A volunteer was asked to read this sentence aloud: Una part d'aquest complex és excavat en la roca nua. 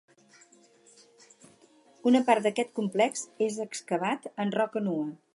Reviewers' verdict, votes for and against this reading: rejected, 0, 4